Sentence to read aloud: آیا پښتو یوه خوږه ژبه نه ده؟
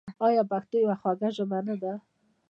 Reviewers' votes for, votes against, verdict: 1, 2, rejected